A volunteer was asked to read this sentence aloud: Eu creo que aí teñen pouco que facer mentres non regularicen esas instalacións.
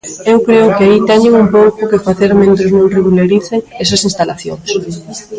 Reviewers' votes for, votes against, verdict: 1, 3, rejected